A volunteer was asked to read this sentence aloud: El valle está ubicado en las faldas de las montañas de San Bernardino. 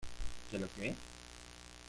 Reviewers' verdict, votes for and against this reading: rejected, 0, 2